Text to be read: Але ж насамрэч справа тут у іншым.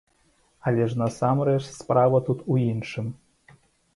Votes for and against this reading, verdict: 1, 2, rejected